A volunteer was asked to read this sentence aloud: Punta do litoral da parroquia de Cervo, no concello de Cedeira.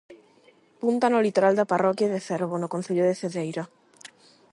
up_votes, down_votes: 0, 8